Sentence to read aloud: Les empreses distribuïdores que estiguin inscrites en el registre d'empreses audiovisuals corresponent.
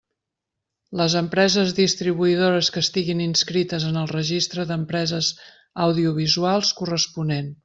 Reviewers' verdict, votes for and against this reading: accepted, 3, 0